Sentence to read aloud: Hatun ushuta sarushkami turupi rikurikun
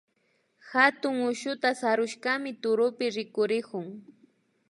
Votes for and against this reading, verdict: 2, 0, accepted